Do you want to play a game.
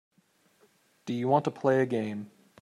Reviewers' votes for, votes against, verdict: 3, 0, accepted